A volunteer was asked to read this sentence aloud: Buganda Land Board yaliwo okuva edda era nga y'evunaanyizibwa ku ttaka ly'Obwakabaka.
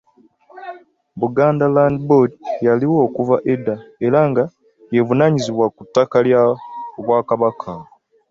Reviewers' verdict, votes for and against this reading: accepted, 2, 0